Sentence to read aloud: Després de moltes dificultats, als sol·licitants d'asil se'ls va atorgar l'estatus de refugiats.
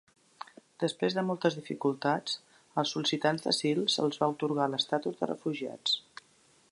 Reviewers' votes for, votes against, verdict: 3, 0, accepted